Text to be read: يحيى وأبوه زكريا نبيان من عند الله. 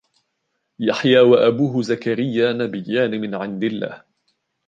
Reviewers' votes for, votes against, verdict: 2, 0, accepted